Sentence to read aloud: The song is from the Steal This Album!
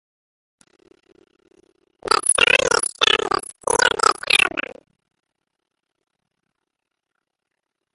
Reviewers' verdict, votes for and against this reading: rejected, 0, 2